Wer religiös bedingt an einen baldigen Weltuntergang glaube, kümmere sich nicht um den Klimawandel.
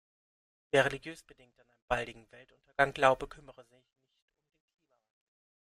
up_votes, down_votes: 0, 2